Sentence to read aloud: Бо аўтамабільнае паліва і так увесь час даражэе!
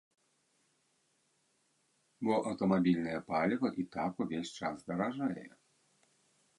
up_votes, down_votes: 1, 2